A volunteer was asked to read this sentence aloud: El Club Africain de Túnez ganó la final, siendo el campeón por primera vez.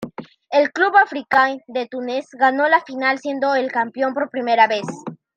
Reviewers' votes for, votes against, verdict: 2, 0, accepted